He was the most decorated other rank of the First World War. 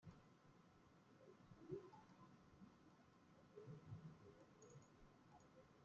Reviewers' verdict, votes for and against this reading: rejected, 0, 2